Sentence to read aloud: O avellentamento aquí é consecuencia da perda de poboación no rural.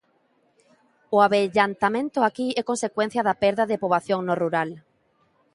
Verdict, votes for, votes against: rejected, 1, 2